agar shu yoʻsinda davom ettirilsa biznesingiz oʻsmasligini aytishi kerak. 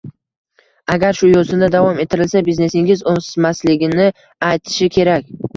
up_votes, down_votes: 0, 2